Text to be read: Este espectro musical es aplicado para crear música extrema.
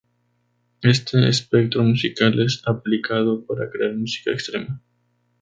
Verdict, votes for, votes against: accepted, 4, 2